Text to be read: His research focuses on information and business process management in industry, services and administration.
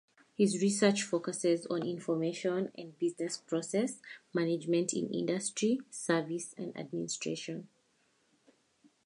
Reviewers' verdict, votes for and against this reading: accepted, 4, 0